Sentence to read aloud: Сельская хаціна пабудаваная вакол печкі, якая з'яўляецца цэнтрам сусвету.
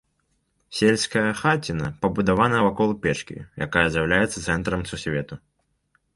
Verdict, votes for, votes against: rejected, 0, 2